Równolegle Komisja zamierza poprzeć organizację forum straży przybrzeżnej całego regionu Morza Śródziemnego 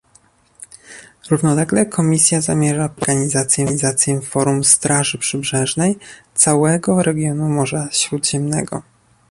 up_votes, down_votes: 1, 2